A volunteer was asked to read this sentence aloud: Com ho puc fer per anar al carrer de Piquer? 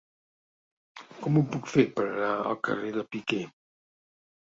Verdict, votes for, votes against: accepted, 2, 0